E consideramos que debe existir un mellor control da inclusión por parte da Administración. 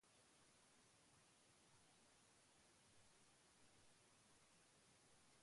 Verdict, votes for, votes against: rejected, 0, 2